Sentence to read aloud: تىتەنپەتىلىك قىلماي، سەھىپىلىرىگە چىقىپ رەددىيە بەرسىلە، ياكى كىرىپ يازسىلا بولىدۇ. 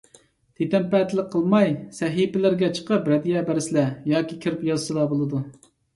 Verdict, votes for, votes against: accepted, 2, 0